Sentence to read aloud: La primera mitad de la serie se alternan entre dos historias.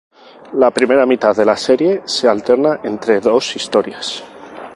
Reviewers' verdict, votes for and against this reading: accepted, 2, 0